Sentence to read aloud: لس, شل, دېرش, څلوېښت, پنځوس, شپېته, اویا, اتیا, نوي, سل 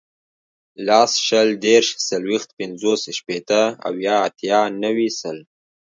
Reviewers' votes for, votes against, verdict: 2, 1, accepted